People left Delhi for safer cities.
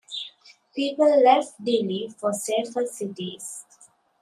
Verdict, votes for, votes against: accepted, 2, 0